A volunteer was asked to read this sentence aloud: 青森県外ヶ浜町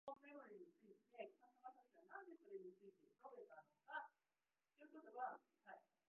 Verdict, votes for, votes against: rejected, 0, 2